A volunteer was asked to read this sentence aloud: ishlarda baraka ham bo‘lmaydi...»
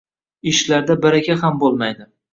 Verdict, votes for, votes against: rejected, 1, 2